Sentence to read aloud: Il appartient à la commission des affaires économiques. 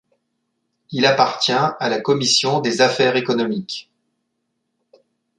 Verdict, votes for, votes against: accepted, 2, 0